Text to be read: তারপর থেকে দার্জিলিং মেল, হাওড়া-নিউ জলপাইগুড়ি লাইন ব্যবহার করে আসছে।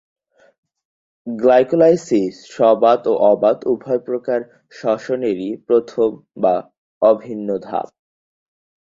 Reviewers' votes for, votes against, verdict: 0, 2, rejected